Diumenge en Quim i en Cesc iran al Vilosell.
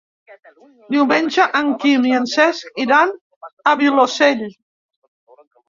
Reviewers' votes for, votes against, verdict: 1, 3, rejected